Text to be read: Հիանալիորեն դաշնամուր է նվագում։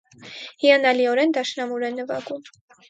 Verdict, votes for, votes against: accepted, 4, 0